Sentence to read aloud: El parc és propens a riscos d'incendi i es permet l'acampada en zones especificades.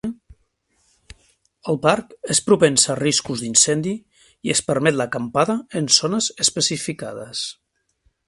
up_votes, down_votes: 5, 1